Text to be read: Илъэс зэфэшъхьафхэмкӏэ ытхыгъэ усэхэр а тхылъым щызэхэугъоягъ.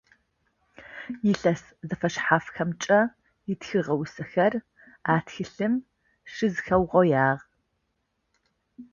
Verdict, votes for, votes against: accepted, 2, 0